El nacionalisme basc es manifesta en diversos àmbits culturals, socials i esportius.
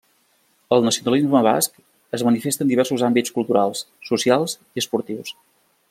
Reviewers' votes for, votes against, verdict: 3, 0, accepted